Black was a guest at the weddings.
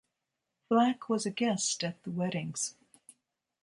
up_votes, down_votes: 3, 0